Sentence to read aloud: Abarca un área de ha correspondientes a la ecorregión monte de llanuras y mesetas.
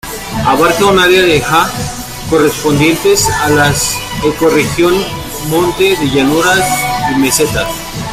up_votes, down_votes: 0, 2